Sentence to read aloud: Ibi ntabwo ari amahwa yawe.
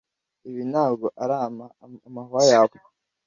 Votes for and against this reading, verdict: 1, 2, rejected